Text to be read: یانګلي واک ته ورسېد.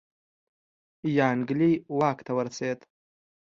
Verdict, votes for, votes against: accepted, 3, 0